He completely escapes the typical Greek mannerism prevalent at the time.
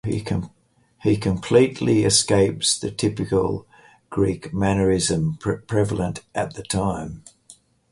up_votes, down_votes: 0, 4